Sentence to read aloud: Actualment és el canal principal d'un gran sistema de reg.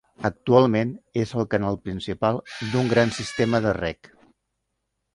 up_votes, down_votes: 1, 2